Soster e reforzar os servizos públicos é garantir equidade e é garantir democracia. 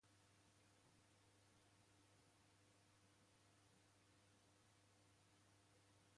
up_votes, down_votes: 0, 2